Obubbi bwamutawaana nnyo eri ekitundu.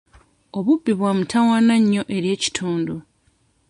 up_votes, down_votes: 2, 0